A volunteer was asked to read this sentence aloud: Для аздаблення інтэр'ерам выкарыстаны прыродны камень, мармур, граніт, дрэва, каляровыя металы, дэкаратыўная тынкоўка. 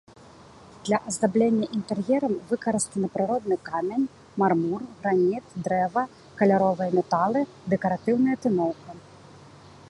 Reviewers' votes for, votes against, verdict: 0, 2, rejected